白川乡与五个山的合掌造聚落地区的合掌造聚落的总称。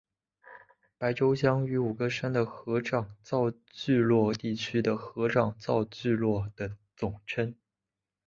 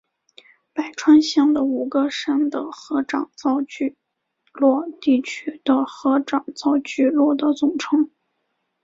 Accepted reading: second